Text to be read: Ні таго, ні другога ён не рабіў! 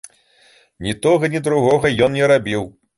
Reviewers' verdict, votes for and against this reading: rejected, 1, 2